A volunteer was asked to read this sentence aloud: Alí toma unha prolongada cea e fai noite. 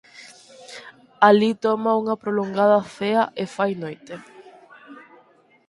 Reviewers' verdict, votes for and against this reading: accepted, 4, 0